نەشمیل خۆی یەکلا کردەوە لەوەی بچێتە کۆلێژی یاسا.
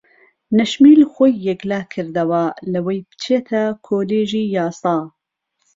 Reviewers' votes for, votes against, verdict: 2, 0, accepted